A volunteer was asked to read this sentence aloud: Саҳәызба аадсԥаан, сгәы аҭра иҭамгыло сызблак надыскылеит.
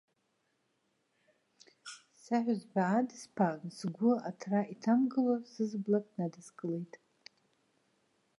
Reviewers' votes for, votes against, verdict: 2, 0, accepted